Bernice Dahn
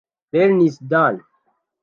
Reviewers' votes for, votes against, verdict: 0, 2, rejected